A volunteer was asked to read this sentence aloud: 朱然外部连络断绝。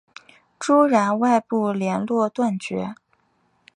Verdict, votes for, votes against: accepted, 2, 1